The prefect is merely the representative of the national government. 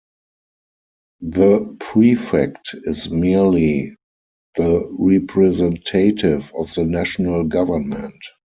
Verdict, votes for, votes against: rejected, 2, 4